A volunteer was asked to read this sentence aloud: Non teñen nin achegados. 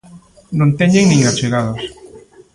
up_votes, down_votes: 2, 0